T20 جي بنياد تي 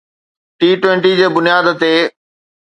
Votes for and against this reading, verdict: 0, 2, rejected